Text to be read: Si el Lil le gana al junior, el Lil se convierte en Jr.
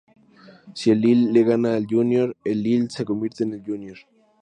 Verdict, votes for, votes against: rejected, 0, 2